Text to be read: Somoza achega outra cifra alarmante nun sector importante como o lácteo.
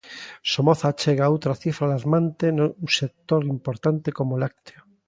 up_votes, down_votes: 0, 2